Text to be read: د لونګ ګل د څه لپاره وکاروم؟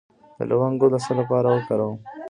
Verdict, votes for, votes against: accepted, 2, 1